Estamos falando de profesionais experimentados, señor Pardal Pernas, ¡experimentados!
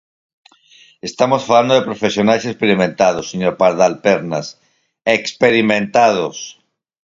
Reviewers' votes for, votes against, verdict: 4, 0, accepted